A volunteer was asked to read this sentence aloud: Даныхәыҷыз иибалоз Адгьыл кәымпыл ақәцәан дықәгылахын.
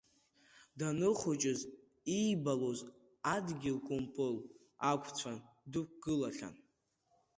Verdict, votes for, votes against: rejected, 0, 2